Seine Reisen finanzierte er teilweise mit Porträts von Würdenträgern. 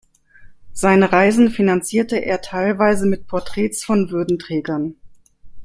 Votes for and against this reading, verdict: 1, 2, rejected